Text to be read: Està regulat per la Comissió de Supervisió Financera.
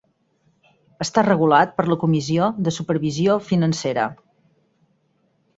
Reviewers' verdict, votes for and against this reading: accepted, 8, 2